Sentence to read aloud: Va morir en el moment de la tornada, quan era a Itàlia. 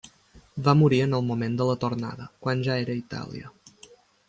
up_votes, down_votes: 1, 2